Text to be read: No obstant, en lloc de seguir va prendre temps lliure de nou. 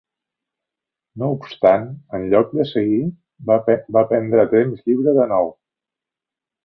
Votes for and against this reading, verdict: 2, 3, rejected